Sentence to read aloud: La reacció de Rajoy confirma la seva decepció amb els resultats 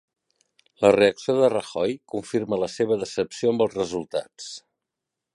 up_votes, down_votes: 3, 0